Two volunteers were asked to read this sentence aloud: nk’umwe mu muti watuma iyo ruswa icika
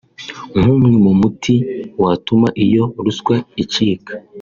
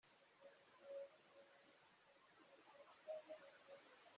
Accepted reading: first